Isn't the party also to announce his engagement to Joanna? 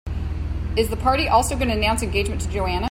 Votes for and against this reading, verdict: 2, 1, accepted